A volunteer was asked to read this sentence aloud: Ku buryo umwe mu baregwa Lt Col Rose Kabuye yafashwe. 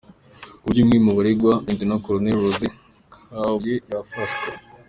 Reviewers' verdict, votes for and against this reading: accepted, 2, 0